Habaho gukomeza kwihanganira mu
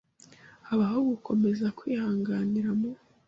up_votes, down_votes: 2, 0